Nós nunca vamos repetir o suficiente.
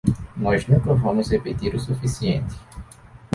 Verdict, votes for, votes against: accepted, 2, 0